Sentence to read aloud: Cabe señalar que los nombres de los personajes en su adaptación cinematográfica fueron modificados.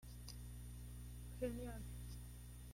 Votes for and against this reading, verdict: 0, 2, rejected